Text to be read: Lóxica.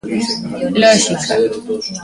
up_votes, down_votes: 2, 0